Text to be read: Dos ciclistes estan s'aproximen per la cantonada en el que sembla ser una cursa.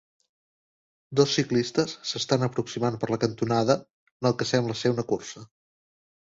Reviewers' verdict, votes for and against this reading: rejected, 0, 2